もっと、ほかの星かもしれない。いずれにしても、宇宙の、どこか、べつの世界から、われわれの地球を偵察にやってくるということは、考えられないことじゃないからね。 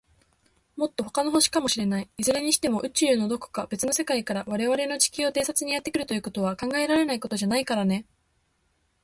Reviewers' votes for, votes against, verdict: 4, 0, accepted